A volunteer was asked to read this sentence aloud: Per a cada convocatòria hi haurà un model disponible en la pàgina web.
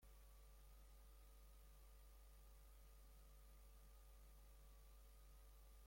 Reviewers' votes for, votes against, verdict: 0, 2, rejected